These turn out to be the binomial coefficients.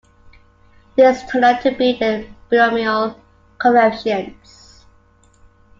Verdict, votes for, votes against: accepted, 2, 1